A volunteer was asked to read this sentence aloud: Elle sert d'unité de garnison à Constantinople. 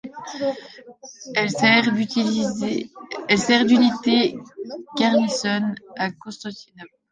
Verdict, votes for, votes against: rejected, 0, 2